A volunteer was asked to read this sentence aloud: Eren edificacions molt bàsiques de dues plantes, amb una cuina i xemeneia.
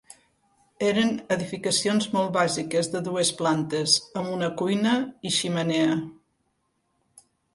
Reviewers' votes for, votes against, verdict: 2, 4, rejected